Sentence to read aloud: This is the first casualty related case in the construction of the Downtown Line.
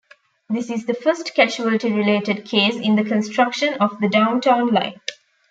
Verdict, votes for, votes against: accepted, 2, 0